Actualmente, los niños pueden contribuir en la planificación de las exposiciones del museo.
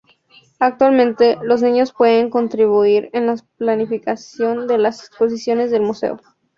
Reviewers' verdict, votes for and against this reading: rejected, 0, 2